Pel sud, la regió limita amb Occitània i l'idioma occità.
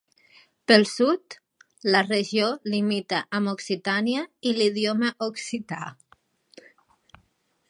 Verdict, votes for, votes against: accepted, 3, 0